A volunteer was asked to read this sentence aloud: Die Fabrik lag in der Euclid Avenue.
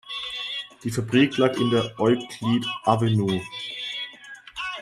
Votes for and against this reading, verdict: 1, 2, rejected